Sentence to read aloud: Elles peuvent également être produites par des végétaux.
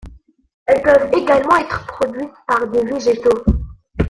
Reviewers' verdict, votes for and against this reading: accepted, 2, 1